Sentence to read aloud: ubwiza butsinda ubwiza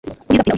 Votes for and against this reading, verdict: 1, 2, rejected